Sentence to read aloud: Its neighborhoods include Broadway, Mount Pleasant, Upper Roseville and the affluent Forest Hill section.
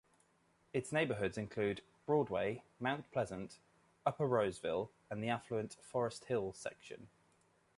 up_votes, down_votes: 2, 0